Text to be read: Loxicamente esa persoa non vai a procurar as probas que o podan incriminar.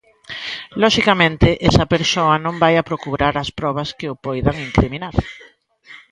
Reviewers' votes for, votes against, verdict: 1, 2, rejected